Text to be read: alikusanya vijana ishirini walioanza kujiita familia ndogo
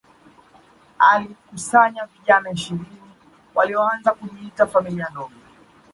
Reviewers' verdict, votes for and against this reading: rejected, 1, 2